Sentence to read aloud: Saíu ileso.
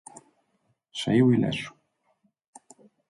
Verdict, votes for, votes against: accepted, 4, 0